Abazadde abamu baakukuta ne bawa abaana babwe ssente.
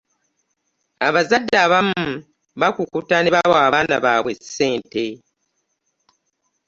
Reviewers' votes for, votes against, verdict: 2, 0, accepted